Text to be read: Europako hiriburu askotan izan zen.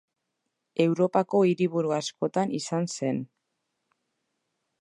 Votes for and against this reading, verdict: 2, 0, accepted